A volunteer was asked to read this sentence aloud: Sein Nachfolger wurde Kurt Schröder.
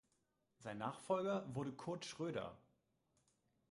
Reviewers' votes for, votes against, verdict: 2, 0, accepted